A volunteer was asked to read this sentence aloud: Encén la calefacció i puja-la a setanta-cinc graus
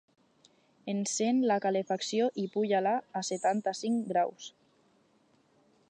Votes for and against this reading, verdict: 4, 0, accepted